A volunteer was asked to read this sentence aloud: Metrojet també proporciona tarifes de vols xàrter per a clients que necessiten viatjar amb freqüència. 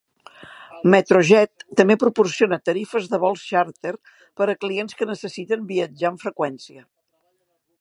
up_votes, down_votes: 3, 0